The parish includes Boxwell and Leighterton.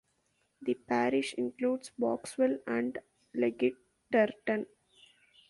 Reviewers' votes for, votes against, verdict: 1, 2, rejected